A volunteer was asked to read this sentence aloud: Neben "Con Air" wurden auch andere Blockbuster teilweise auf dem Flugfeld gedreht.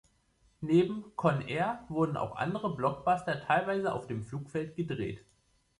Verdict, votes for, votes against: rejected, 1, 2